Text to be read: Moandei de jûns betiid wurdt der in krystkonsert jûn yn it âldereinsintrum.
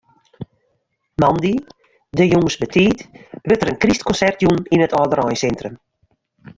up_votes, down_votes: 1, 2